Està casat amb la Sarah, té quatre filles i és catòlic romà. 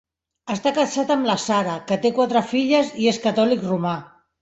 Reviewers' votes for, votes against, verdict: 0, 2, rejected